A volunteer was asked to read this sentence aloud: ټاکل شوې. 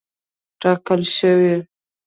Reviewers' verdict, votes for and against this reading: accepted, 2, 0